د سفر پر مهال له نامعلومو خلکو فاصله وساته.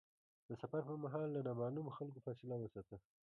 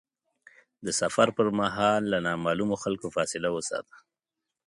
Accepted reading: second